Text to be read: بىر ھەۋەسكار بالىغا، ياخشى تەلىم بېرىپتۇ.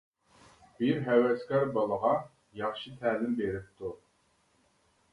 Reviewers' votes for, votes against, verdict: 2, 0, accepted